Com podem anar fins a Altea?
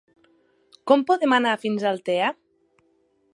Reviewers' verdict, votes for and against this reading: accepted, 2, 0